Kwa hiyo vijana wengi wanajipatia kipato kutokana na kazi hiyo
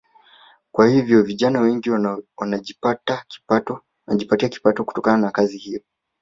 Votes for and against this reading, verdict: 0, 2, rejected